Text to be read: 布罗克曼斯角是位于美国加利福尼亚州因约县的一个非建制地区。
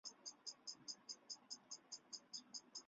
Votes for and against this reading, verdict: 1, 3, rejected